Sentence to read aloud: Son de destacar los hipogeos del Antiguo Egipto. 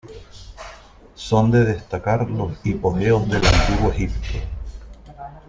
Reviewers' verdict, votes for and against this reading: rejected, 0, 2